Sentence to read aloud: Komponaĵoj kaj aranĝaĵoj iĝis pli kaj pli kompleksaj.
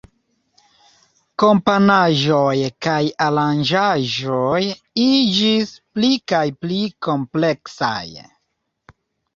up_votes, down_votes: 1, 2